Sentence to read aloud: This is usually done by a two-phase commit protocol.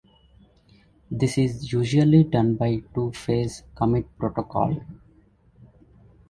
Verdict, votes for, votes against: rejected, 1, 2